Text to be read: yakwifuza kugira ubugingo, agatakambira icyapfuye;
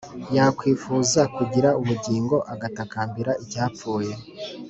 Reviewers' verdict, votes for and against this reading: accepted, 2, 0